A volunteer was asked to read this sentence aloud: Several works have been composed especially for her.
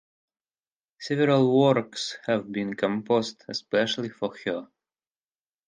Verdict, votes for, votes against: accepted, 4, 0